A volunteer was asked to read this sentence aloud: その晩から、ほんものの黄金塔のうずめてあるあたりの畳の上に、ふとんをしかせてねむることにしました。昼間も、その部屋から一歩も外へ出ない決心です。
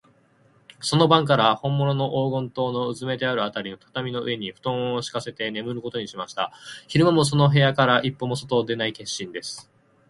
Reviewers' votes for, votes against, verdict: 8, 0, accepted